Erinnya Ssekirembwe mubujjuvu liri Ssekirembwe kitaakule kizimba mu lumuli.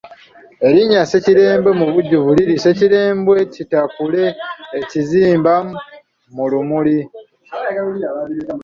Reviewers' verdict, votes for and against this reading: accepted, 2, 1